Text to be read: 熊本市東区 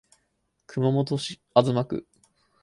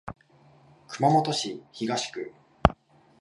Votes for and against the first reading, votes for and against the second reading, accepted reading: 0, 4, 3, 1, second